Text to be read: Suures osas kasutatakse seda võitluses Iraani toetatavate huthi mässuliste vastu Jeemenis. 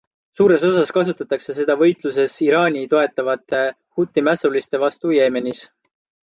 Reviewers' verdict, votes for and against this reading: rejected, 1, 2